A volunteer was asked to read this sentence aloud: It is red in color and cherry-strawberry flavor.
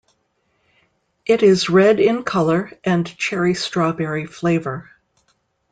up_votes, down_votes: 1, 2